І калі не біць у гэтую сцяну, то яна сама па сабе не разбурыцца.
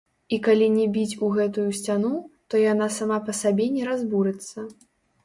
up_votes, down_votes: 1, 2